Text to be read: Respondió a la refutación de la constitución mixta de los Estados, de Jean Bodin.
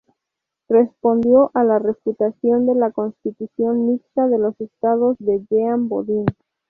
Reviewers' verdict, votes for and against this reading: rejected, 2, 2